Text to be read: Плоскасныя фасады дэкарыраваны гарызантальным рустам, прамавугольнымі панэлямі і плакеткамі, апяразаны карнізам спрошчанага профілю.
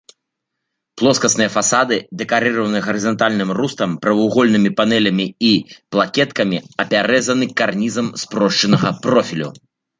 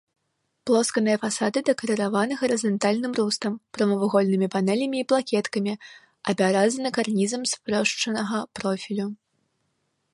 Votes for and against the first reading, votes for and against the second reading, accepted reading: 2, 1, 0, 2, first